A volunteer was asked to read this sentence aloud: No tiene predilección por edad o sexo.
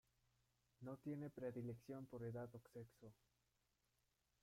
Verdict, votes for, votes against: rejected, 1, 2